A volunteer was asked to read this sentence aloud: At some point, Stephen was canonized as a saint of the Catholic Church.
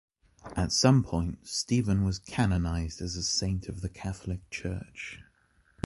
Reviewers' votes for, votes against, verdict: 2, 0, accepted